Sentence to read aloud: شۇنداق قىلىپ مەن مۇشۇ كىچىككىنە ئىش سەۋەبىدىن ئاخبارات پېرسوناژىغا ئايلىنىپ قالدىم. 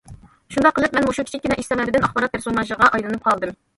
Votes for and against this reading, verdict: 1, 2, rejected